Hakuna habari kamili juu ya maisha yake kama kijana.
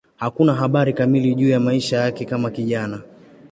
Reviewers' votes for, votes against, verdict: 2, 0, accepted